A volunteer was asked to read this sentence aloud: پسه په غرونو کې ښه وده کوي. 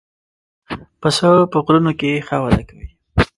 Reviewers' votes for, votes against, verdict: 1, 2, rejected